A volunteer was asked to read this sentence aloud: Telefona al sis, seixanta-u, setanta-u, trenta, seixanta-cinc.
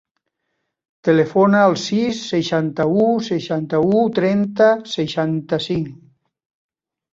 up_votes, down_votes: 1, 2